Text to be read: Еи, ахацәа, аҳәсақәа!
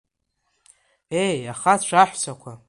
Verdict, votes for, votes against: rejected, 0, 2